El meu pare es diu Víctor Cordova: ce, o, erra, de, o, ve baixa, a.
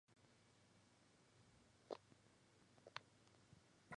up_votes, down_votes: 0, 2